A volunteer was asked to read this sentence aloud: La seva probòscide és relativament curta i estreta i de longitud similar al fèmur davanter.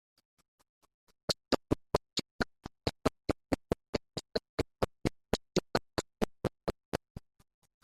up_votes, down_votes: 0, 2